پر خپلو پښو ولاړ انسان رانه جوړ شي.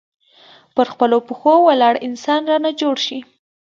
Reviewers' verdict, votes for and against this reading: accepted, 2, 1